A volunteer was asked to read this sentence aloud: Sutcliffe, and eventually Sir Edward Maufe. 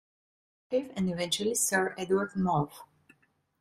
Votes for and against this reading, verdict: 0, 2, rejected